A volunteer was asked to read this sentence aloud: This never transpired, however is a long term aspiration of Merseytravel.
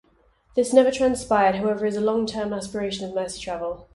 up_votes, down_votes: 4, 0